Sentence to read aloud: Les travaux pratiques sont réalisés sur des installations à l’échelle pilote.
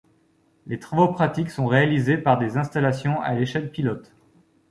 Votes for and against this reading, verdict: 1, 2, rejected